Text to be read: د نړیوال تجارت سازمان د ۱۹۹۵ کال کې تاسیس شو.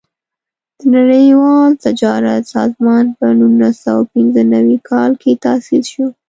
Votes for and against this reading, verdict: 0, 2, rejected